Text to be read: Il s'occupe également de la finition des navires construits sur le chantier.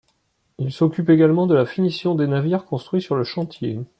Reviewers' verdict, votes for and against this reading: rejected, 1, 2